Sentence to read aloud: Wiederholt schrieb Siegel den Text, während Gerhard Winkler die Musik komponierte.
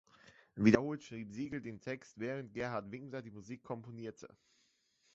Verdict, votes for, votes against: accepted, 2, 1